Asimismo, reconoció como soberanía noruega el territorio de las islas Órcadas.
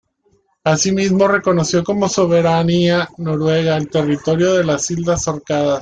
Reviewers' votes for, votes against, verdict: 2, 1, accepted